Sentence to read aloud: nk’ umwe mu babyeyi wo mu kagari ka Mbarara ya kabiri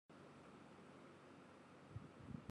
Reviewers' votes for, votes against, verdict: 0, 2, rejected